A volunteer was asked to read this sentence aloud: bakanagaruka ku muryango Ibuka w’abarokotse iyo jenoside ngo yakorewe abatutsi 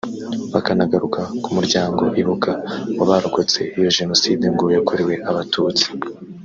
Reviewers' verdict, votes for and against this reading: rejected, 0, 2